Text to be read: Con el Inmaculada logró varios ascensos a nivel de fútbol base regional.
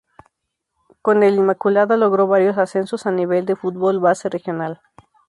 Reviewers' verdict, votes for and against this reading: rejected, 0, 2